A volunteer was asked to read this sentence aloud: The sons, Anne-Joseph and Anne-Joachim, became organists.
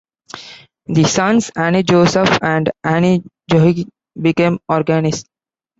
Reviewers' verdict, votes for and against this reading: rejected, 0, 2